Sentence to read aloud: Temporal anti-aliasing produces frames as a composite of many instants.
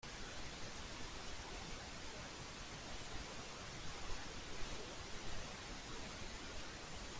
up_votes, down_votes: 0, 2